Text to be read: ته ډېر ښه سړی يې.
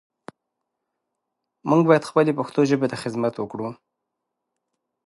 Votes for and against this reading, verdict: 0, 2, rejected